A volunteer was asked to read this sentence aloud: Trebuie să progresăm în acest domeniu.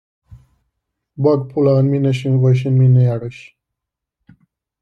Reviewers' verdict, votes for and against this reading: rejected, 0, 2